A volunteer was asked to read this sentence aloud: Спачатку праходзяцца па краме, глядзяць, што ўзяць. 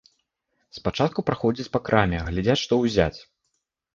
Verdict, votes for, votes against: rejected, 0, 2